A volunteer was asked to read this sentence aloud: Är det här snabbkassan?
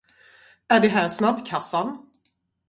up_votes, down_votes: 2, 0